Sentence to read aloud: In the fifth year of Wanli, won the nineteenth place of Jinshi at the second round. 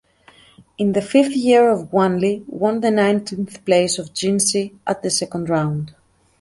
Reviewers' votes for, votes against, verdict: 2, 0, accepted